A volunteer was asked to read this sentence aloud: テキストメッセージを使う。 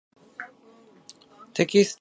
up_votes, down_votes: 1, 2